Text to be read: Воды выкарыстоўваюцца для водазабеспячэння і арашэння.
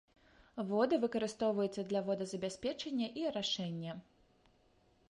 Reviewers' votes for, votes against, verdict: 1, 2, rejected